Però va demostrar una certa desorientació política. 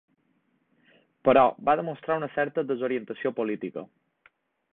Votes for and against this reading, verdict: 3, 0, accepted